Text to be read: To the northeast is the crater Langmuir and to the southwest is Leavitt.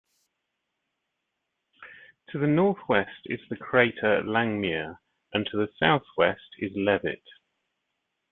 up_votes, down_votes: 1, 2